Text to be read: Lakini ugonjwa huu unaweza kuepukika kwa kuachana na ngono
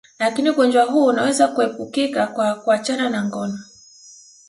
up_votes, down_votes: 0, 2